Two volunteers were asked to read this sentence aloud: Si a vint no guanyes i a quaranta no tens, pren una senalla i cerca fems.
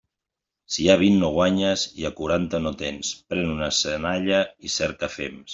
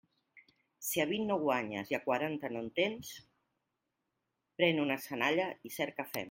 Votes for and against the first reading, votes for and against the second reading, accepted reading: 2, 0, 1, 2, first